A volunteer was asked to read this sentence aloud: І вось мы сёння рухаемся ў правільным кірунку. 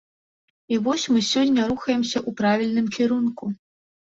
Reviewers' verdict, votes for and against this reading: accepted, 2, 0